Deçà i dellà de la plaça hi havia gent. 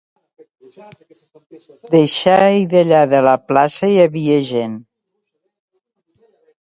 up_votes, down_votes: 1, 2